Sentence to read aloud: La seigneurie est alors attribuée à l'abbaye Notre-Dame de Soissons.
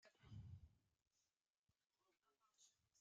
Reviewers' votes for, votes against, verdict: 0, 2, rejected